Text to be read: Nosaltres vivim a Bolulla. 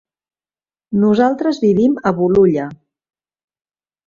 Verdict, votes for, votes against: accepted, 3, 0